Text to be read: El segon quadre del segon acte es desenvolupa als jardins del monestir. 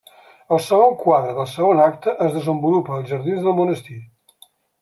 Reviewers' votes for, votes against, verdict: 3, 0, accepted